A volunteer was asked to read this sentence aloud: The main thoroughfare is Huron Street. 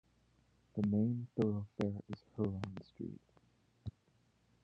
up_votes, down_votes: 0, 2